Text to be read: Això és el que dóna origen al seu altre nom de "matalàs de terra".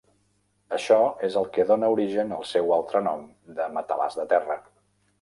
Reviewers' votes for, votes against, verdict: 3, 0, accepted